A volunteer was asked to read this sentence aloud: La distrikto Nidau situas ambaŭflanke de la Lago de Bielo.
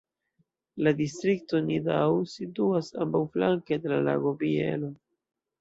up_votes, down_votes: 1, 2